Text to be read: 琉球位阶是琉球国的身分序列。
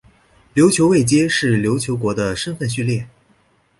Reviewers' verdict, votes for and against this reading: accepted, 2, 0